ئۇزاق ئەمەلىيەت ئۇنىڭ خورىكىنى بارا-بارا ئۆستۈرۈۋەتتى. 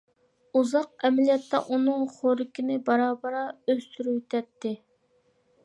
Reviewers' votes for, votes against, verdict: 1, 2, rejected